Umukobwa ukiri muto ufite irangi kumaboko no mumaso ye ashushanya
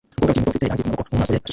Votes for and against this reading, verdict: 0, 2, rejected